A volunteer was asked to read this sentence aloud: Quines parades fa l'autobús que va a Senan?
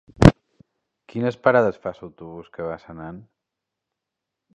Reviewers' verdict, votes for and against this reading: rejected, 1, 2